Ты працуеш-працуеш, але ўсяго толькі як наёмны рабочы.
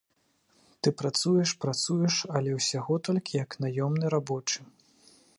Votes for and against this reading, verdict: 2, 0, accepted